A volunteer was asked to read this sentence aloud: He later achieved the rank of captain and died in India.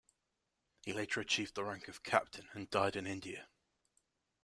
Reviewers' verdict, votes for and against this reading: accepted, 2, 0